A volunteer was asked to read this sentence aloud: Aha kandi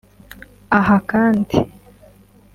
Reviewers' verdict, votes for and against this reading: accepted, 2, 0